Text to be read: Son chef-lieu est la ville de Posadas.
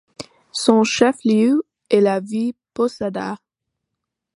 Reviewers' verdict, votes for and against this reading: accepted, 2, 0